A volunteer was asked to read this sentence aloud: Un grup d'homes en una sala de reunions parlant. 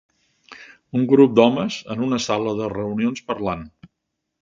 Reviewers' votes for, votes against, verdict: 4, 0, accepted